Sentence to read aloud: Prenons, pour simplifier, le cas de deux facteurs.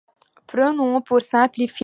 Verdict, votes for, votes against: rejected, 0, 2